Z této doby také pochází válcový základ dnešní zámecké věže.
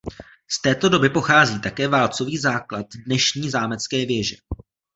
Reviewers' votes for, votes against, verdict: 2, 0, accepted